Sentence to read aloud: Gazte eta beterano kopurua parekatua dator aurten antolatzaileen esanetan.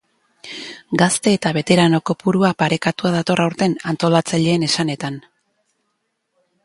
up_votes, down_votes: 12, 2